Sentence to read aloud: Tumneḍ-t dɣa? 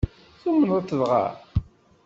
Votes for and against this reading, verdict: 2, 0, accepted